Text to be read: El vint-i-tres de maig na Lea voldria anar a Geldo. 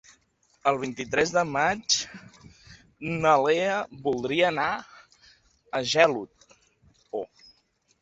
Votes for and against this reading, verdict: 0, 2, rejected